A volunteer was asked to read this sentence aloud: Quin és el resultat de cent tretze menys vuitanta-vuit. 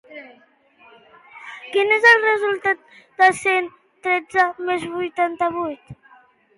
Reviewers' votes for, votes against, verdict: 1, 2, rejected